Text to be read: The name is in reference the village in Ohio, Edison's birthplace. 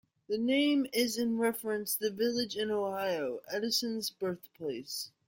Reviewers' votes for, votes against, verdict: 1, 2, rejected